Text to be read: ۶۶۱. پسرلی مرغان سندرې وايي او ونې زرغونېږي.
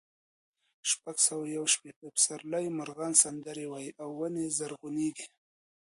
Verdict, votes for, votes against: rejected, 0, 2